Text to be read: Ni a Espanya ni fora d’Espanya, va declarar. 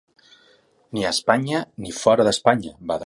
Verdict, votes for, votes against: rejected, 0, 2